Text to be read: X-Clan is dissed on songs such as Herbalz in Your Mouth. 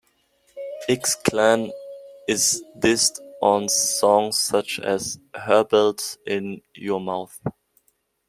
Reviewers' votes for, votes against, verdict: 2, 0, accepted